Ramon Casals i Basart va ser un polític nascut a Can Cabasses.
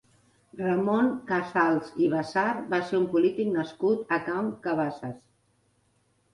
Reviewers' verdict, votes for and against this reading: accepted, 2, 0